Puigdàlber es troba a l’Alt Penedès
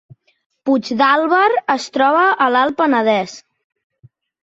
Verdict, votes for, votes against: accepted, 2, 0